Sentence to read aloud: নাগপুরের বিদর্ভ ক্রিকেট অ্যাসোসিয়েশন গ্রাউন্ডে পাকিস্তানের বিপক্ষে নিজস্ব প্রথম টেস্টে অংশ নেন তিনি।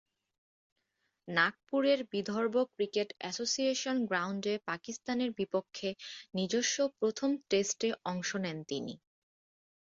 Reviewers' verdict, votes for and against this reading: accepted, 2, 0